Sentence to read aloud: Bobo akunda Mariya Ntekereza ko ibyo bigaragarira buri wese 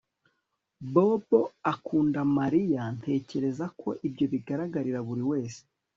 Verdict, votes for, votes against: accepted, 3, 0